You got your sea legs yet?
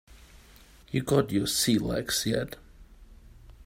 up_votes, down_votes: 3, 0